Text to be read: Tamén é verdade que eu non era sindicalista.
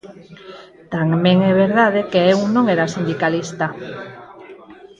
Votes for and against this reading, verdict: 0, 4, rejected